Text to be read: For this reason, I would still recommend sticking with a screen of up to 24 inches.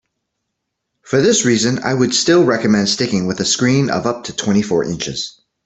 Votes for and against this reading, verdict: 0, 2, rejected